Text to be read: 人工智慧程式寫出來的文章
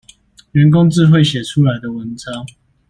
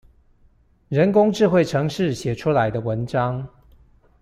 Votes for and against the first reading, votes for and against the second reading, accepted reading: 1, 2, 2, 0, second